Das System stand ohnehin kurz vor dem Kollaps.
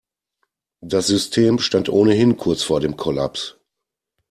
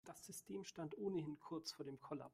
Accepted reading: first